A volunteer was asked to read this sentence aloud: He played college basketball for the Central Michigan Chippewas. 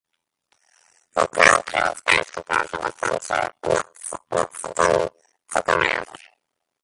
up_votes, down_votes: 0, 2